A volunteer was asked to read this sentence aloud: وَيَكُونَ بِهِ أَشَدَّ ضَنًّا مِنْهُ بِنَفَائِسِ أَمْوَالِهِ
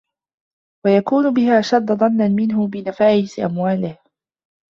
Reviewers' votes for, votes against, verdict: 1, 2, rejected